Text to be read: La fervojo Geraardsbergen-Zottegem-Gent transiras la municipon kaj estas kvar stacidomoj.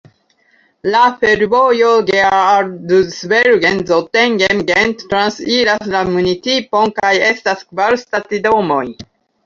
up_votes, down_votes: 1, 2